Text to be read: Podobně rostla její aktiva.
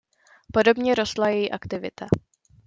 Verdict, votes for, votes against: rejected, 0, 2